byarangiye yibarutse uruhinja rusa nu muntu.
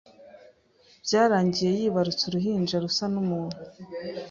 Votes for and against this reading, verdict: 2, 0, accepted